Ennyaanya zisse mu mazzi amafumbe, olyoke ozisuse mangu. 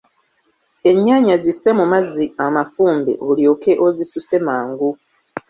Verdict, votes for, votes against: accepted, 2, 1